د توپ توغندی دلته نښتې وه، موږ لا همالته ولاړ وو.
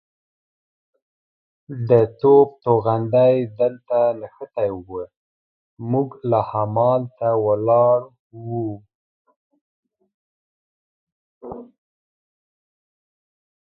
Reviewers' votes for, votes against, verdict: 1, 2, rejected